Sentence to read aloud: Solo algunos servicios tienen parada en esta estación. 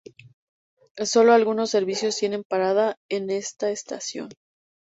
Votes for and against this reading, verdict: 2, 0, accepted